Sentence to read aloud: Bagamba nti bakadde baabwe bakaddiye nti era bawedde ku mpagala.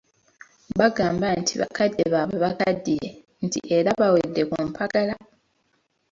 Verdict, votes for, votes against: accepted, 2, 0